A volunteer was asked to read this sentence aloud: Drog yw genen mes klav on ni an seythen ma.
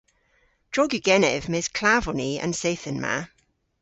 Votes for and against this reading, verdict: 1, 2, rejected